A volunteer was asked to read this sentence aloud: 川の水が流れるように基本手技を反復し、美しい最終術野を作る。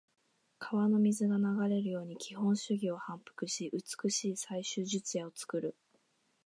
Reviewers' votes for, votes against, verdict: 2, 1, accepted